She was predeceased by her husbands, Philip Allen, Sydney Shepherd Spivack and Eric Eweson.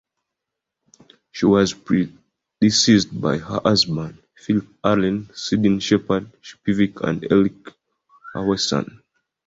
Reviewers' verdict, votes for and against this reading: rejected, 0, 2